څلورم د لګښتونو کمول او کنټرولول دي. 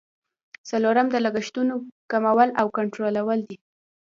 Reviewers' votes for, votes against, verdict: 2, 0, accepted